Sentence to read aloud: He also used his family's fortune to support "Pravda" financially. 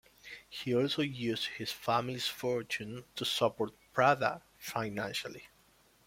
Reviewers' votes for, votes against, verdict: 2, 0, accepted